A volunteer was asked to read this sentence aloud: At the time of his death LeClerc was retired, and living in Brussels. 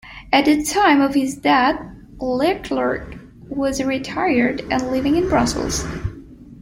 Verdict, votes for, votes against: accepted, 2, 0